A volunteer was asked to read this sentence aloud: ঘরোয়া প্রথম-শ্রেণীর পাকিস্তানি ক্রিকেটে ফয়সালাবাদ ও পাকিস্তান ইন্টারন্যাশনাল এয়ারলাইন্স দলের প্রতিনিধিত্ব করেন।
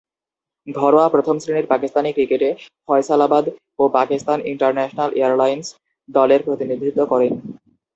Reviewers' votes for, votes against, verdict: 2, 0, accepted